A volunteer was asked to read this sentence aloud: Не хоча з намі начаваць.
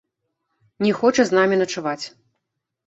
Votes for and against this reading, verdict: 1, 2, rejected